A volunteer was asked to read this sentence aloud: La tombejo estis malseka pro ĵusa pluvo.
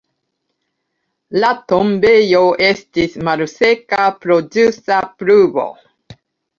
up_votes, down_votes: 1, 2